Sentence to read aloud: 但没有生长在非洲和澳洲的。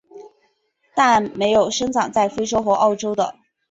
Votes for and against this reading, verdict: 5, 3, accepted